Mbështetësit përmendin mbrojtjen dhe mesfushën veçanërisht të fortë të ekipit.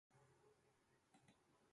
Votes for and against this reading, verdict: 0, 2, rejected